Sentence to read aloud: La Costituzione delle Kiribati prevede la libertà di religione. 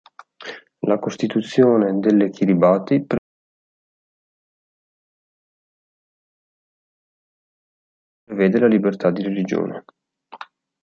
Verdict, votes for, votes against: rejected, 1, 3